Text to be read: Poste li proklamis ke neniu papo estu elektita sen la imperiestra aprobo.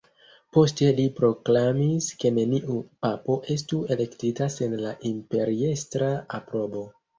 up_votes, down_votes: 2, 0